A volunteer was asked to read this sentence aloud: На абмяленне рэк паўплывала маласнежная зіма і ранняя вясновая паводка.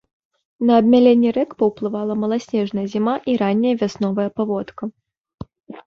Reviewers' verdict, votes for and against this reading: accepted, 2, 1